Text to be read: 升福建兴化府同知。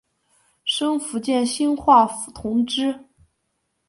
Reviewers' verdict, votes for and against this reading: accepted, 4, 0